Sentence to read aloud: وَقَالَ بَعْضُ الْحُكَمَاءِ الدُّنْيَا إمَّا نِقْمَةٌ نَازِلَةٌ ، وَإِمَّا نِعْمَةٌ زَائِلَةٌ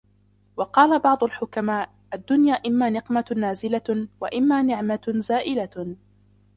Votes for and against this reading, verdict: 0, 2, rejected